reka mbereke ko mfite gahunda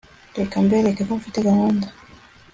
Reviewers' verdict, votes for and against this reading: accepted, 2, 0